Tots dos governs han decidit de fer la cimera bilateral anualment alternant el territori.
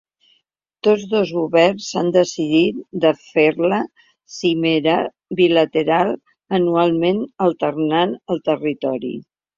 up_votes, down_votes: 2, 1